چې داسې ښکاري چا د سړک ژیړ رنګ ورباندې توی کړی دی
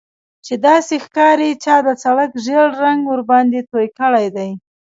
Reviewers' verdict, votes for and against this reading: rejected, 1, 2